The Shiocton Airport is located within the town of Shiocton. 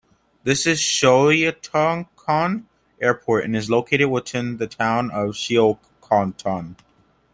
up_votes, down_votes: 0, 2